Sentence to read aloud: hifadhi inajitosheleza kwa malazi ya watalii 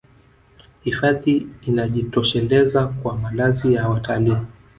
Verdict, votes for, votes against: accepted, 2, 0